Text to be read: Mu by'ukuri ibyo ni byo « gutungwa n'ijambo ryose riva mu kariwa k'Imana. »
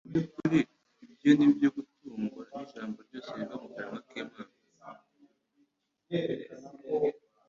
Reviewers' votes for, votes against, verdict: 2, 1, accepted